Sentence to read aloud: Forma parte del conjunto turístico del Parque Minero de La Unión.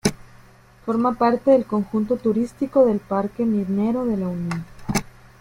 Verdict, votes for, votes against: rejected, 0, 2